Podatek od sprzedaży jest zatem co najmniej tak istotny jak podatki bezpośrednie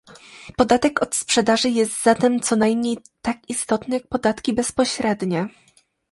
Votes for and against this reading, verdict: 2, 0, accepted